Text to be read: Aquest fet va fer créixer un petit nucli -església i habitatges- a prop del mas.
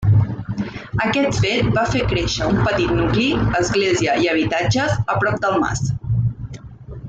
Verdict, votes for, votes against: rejected, 1, 2